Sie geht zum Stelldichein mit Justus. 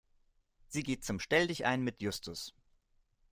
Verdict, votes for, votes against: accepted, 2, 0